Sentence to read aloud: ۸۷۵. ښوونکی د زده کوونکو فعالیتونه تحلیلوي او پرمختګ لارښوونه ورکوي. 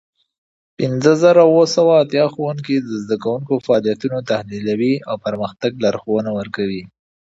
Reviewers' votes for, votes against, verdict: 0, 2, rejected